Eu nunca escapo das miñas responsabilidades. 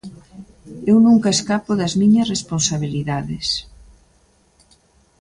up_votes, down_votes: 2, 0